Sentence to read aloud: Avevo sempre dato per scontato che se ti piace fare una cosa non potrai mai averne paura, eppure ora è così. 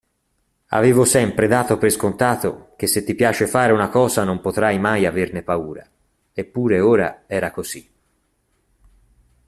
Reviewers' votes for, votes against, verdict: 0, 2, rejected